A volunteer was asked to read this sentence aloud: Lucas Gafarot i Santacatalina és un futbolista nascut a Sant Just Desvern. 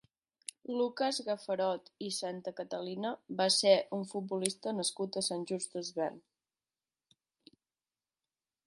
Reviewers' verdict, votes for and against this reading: rejected, 0, 2